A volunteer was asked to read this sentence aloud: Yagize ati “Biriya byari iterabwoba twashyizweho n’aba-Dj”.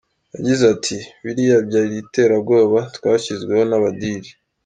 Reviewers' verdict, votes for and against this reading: accepted, 2, 1